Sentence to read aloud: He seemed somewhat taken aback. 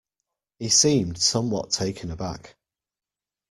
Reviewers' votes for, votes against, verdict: 2, 0, accepted